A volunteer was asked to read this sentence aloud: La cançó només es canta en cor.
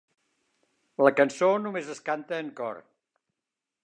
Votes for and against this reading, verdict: 5, 0, accepted